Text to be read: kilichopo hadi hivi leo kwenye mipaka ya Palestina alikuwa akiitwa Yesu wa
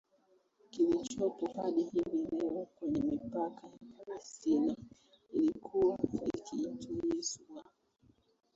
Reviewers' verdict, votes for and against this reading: rejected, 1, 2